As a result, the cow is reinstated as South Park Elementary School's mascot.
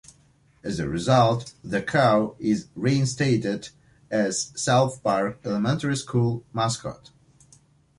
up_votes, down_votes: 1, 2